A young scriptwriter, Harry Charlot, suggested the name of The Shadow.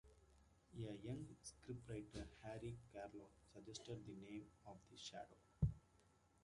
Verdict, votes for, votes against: rejected, 0, 2